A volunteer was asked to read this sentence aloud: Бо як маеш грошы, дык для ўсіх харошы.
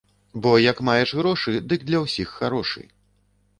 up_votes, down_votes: 2, 0